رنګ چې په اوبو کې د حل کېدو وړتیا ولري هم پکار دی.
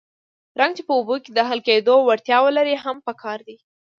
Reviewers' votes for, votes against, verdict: 2, 0, accepted